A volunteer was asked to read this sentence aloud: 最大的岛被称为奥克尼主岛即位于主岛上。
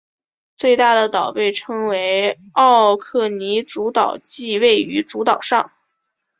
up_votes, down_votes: 2, 0